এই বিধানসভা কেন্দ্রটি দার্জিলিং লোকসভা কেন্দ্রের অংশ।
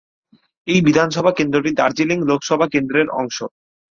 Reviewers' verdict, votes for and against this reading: accepted, 6, 0